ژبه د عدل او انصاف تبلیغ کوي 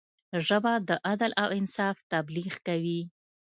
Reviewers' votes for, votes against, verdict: 2, 1, accepted